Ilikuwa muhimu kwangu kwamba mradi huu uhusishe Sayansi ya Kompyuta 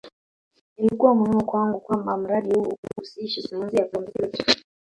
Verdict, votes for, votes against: rejected, 0, 2